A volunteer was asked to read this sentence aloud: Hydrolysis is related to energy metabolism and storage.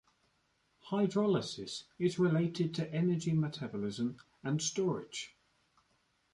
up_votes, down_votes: 1, 2